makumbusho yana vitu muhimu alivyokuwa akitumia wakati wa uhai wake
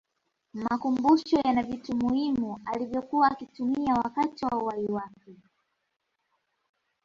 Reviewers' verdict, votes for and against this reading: accepted, 2, 1